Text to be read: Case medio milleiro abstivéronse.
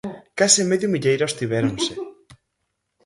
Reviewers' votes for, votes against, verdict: 0, 4, rejected